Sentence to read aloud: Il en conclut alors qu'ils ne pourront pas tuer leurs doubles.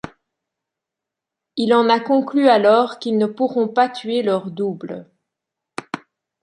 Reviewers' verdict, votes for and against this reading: rejected, 0, 2